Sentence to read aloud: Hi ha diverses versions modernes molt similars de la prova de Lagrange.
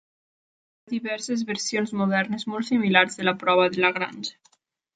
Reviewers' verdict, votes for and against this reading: rejected, 0, 2